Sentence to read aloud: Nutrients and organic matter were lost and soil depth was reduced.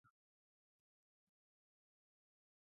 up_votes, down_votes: 0, 2